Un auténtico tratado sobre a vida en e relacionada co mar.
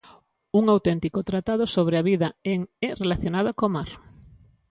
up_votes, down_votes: 2, 0